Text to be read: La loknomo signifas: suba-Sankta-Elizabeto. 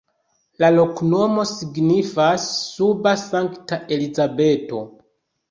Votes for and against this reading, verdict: 2, 0, accepted